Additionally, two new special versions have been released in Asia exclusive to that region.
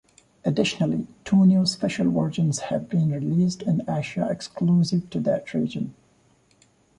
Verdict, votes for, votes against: accepted, 2, 0